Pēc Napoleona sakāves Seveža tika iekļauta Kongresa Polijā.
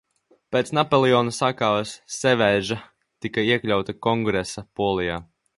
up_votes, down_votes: 2, 1